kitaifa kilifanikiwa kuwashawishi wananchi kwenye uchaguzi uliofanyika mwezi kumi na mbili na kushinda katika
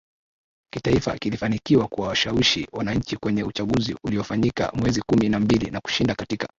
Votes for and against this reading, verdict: 2, 0, accepted